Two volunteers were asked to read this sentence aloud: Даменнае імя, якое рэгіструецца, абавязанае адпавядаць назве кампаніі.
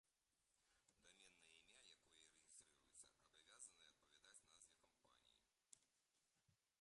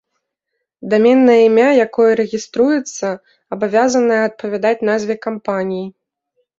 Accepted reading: second